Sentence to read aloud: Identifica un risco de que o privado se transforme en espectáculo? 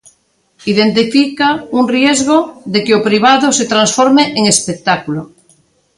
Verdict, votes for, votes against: rejected, 0, 2